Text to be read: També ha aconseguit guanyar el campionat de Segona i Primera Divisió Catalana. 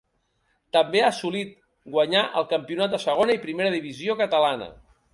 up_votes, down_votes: 0, 2